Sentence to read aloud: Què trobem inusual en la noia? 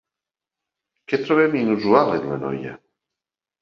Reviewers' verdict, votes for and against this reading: accepted, 2, 0